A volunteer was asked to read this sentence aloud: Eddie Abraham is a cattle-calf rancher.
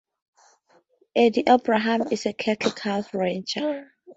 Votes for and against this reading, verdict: 0, 2, rejected